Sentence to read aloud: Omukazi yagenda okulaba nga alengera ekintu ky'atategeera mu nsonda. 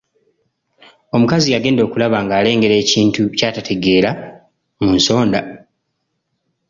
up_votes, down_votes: 0, 2